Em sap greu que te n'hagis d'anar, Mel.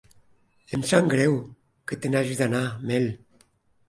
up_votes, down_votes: 2, 0